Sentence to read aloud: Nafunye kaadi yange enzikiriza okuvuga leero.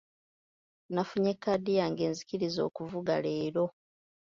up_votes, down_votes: 2, 0